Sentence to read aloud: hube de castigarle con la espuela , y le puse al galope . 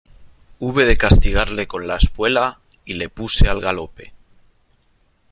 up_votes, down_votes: 3, 0